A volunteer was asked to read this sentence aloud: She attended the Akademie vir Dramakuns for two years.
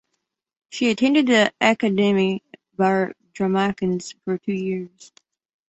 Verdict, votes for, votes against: accepted, 2, 0